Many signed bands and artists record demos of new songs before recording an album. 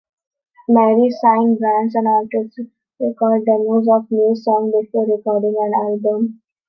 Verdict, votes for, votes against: rejected, 1, 2